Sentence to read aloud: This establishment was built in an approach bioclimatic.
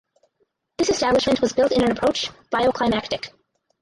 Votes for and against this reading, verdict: 2, 4, rejected